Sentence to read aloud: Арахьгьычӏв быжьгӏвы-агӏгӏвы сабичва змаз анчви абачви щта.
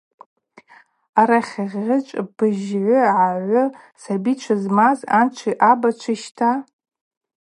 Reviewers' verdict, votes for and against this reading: accepted, 2, 0